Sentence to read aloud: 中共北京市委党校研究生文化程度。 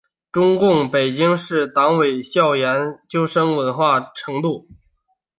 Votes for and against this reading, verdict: 4, 0, accepted